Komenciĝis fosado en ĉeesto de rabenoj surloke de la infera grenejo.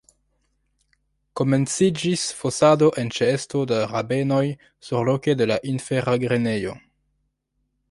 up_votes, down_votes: 1, 2